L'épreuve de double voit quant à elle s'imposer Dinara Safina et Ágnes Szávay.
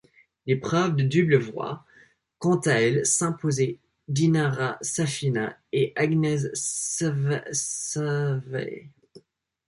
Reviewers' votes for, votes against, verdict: 1, 2, rejected